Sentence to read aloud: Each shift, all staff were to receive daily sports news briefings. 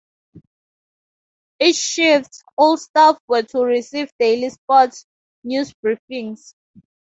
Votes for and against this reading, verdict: 2, 0, accepted